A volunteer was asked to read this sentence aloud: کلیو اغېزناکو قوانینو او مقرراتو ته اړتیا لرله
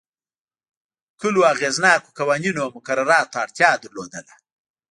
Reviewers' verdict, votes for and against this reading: rejected, 1, 2